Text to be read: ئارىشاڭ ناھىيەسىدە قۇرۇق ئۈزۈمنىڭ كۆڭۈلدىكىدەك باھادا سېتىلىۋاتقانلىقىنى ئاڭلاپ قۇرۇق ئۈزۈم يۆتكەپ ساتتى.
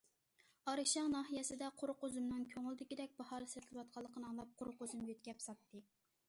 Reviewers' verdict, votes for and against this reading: rejected, 0, 2